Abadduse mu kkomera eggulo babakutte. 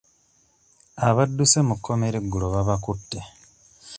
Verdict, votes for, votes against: accepted, 2, 1